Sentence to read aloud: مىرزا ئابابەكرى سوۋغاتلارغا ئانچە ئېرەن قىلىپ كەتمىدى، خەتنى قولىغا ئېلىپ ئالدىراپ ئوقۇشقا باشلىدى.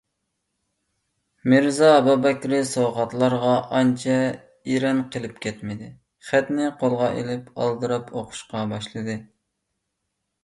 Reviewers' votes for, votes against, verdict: 2, 0, accepted